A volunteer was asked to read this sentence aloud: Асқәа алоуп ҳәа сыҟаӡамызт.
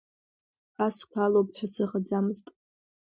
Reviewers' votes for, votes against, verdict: 2, 0, accepted